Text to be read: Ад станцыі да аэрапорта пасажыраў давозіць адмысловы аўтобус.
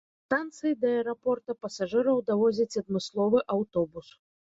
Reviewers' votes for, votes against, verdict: 1, 2, rejected